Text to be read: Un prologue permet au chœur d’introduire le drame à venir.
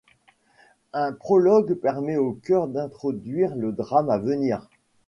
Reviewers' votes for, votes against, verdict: 2, 0, accepted